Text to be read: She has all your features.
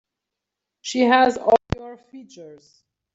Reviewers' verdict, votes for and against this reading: rejected, 2, 3